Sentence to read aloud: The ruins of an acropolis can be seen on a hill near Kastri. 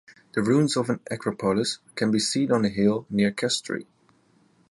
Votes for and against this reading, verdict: 2, 0, accepted